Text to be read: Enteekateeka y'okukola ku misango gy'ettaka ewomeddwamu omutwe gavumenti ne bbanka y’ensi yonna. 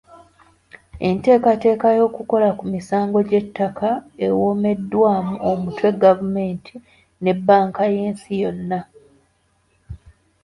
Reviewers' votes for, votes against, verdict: 1, 2, rejected